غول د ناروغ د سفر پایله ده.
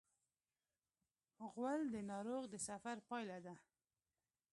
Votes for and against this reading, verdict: 1, 2, rejected